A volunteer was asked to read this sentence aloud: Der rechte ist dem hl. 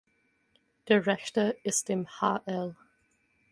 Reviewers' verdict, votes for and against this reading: rejected, 0, 4